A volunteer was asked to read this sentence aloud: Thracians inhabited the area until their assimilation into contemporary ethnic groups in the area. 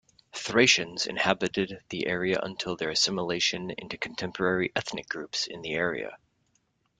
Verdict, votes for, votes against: accepted, 2, 0